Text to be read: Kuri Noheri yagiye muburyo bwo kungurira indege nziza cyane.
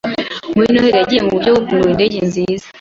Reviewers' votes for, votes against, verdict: 0, 2, rejected